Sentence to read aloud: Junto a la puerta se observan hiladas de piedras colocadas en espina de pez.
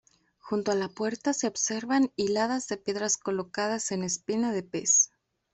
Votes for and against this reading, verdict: 1, 2, rejected